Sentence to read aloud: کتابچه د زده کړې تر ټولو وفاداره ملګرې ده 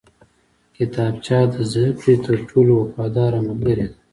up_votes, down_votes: 2, 0